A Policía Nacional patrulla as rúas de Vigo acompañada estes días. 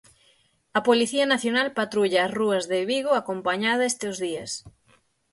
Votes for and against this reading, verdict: 6, 3, accepted